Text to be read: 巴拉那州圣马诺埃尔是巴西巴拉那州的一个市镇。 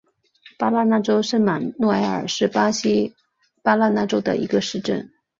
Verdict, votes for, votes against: accepted, 2, 0